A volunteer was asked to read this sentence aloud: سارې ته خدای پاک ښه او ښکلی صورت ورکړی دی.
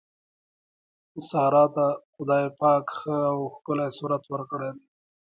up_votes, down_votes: 2, 1